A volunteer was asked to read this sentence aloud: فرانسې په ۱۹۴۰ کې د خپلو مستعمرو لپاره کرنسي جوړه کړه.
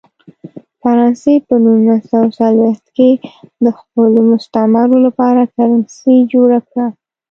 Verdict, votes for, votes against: rejected, 0, 2